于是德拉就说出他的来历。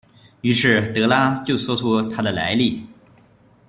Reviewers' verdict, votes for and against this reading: rejected, 1, 2